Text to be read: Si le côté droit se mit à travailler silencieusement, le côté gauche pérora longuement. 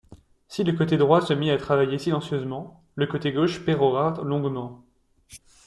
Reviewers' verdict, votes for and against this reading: accepted, 2, 0